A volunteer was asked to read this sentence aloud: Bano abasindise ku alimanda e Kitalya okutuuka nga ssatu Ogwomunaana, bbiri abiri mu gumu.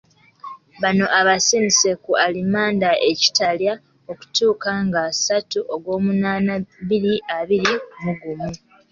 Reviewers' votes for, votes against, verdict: 2, 0, accepted